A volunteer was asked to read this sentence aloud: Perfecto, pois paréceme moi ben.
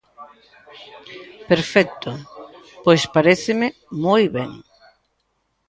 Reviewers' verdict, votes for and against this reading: rejected, 1, 2